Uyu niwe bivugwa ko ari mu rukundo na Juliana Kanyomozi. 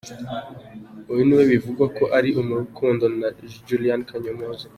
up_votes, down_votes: 2, 1